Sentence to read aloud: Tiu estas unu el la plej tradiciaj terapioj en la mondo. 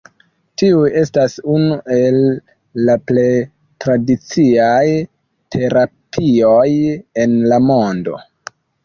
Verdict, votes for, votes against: rejected, 0, 2